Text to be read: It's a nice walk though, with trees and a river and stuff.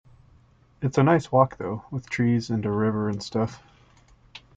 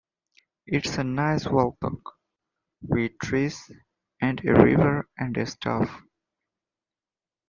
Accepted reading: first